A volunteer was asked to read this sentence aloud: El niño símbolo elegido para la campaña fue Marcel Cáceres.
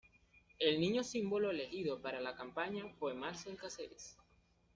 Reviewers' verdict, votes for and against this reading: accepted, 2, 0